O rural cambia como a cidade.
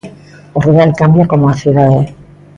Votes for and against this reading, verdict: 2, 0, accepted